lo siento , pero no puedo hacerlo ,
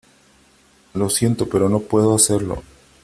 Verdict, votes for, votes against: accepted, 3, 0